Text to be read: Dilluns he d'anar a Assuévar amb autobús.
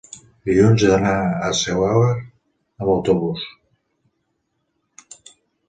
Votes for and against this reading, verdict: 2, 3, rejected